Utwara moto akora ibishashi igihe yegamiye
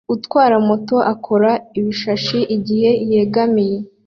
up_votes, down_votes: 2, 0